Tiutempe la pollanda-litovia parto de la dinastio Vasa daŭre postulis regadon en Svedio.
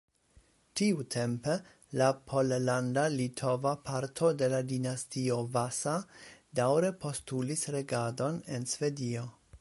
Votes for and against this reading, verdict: 1, 2, rejected